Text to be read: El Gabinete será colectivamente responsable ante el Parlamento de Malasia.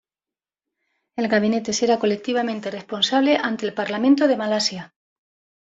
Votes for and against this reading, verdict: 2, 0, accepted